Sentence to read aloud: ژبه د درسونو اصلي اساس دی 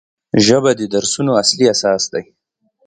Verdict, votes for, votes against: accepted, 2, 0